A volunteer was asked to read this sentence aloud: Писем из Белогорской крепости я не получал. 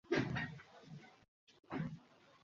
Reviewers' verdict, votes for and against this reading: rejected, 0, 2